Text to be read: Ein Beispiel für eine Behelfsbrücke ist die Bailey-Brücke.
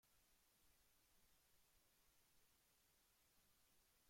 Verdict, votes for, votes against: rejected, 0, 2